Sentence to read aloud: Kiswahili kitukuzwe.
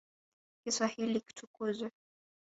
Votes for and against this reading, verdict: 1, 2, rejected